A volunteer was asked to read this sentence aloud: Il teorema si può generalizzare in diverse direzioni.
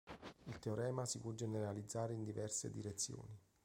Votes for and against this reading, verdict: 2, 0, accepted